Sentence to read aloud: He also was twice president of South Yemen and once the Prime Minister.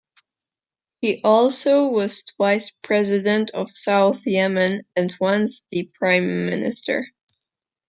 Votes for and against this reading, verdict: 2, 0, accepted